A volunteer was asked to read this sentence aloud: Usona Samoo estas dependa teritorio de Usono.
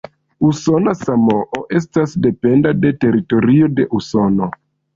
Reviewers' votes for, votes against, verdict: 2, 3, rejected